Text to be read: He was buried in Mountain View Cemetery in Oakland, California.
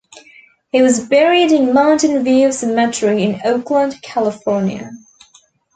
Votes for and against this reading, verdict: 1, 2, rejected